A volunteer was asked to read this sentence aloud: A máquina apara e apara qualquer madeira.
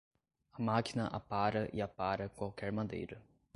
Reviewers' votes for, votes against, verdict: 2, 0, accepted